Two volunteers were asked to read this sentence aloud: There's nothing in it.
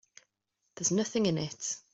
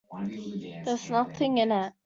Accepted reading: first